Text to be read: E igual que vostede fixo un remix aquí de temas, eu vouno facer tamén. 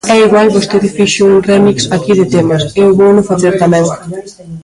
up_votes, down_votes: 0, 2